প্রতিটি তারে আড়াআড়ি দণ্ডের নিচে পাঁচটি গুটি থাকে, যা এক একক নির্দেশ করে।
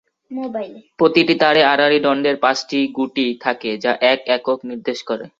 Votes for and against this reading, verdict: 2, 6, rejected